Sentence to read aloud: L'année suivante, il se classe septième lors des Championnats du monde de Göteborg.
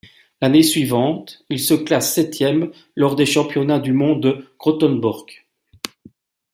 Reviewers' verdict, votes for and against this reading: accepted, 2, 1